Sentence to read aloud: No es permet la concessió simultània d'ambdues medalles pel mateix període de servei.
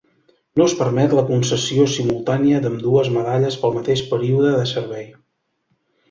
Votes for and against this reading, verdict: 2, 0, accepted